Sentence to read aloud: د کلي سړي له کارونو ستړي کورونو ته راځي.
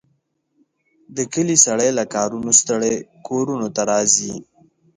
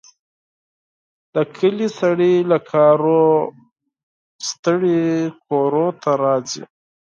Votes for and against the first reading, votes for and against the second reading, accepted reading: 2, 0, 2, 4, first